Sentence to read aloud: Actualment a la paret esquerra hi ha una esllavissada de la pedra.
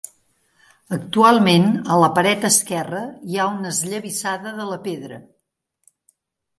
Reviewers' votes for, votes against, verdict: 2, 0, accepted